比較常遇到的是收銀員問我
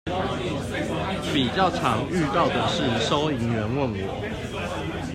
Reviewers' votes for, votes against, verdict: 2, 0, accepted